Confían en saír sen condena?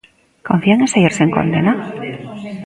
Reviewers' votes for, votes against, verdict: 1, 2, rejected